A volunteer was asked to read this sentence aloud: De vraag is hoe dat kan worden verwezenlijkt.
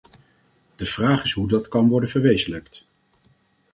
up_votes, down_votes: 0, 4